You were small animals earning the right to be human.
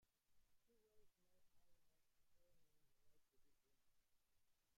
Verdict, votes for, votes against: rejected, 0, 2